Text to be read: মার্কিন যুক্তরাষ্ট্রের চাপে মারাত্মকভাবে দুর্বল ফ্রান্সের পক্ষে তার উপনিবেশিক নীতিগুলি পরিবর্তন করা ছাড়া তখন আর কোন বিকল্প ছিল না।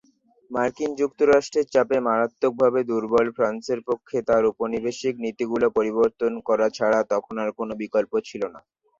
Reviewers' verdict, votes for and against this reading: accepted, 2, 0